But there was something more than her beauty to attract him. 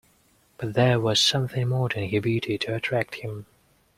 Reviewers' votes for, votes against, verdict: 2, 0, accepted